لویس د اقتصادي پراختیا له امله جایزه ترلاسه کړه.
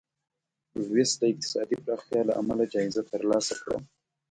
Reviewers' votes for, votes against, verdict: 2, 0, accepted